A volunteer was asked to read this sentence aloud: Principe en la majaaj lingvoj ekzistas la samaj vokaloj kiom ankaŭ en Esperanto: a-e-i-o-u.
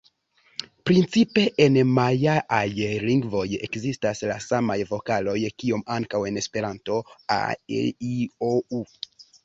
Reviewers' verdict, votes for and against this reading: rejected, 0, 2